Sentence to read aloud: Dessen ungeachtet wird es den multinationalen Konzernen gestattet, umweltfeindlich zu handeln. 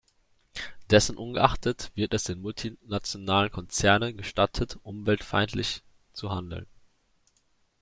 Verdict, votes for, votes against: accepted, 2, 0